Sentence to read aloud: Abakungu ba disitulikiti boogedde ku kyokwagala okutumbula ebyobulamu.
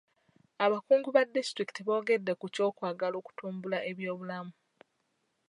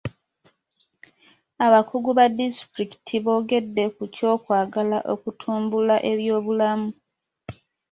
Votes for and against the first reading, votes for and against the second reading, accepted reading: 2, 0, 0, 2, first